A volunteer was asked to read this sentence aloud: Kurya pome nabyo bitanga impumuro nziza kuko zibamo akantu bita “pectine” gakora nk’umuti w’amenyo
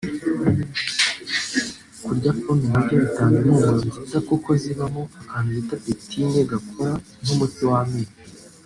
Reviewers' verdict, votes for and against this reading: rejected, 0, 2